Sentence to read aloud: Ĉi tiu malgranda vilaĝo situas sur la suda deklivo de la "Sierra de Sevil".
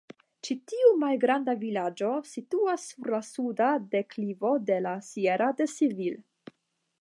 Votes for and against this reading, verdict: 0, 5, rejected